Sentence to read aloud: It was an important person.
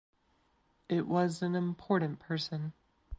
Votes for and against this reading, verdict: 2, 0, accepted